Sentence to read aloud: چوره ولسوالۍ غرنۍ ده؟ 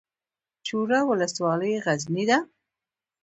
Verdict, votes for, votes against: rejected, 0, 2